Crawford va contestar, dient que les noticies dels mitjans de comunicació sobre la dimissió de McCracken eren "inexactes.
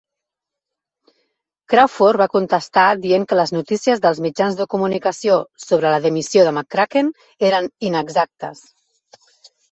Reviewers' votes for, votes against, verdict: 2, 0, accepted